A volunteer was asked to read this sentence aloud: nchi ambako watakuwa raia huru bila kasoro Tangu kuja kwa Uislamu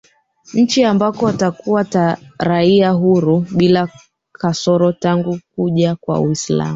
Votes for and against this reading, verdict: 0, 2, rejected